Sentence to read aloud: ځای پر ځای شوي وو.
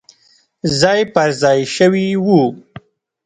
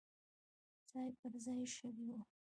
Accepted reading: second